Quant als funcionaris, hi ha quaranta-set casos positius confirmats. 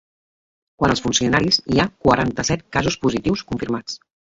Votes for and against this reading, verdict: 2, 0, accepted